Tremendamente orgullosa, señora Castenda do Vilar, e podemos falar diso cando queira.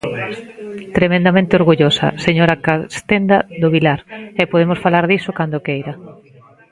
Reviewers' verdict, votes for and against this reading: rejected, 0, 2